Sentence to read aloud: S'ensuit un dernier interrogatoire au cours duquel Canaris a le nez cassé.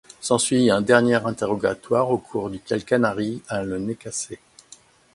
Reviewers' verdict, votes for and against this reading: accepted, 2, 0